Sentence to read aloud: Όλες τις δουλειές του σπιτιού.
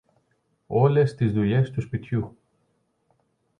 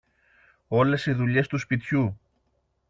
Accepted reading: first